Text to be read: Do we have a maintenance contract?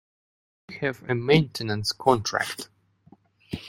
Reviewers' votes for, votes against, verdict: 0, 2, rejected